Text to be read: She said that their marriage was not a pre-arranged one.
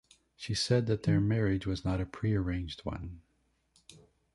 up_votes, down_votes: 2, 0